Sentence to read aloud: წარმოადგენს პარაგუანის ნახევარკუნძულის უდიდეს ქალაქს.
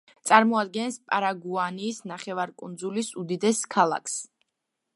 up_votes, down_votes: 2, 0